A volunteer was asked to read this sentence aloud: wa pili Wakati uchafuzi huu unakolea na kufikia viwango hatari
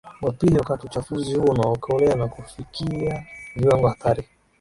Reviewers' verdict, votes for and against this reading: rejected, 0, 2